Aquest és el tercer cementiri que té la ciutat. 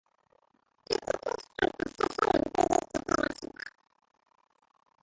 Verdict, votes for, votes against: rejected, 0, 2